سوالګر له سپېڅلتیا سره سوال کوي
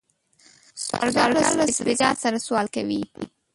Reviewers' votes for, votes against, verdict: 1, 2, rejected